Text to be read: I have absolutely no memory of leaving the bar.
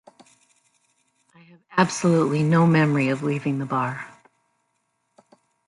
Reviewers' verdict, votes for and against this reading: rejected, 1, 2